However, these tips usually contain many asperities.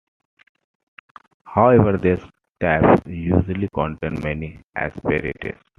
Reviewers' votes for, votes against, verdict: 0, 2, rejected